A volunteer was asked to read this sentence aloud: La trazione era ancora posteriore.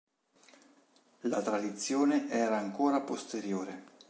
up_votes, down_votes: 1, 2